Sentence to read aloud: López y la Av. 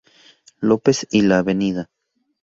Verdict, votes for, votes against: rejected, 0, 2